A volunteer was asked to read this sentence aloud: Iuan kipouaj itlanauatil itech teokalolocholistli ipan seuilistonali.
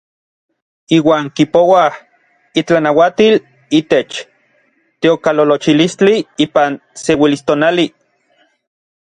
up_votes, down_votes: 1, 2